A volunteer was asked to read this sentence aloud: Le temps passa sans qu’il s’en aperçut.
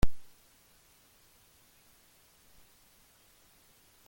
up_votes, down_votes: 0, 2